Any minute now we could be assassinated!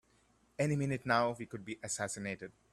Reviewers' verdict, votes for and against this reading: accepted, 2, 0